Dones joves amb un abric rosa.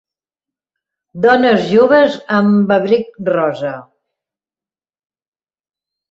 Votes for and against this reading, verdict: 0, 2, rejected